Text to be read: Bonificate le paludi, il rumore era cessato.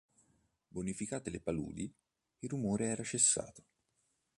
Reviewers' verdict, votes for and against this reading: accepted, 2, 0